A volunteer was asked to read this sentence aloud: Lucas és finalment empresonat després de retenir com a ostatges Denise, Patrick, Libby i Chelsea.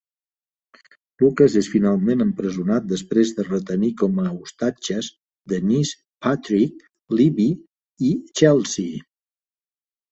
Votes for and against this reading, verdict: 2, 1, accepted